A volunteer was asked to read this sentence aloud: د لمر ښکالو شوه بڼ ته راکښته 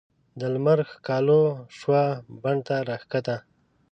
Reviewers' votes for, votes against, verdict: 0, 2, rejected